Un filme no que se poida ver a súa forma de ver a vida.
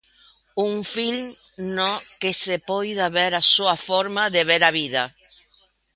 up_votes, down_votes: 1, 2